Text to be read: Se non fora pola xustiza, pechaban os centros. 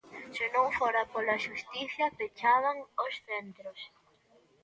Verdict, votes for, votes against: accepted, 2, 0